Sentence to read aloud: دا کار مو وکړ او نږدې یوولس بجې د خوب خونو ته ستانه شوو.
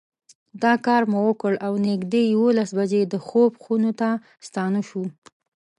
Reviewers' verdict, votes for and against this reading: accepted, 2, 0